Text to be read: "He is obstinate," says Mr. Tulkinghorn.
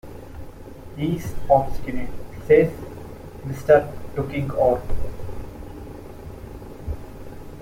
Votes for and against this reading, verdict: 2, 0, accepted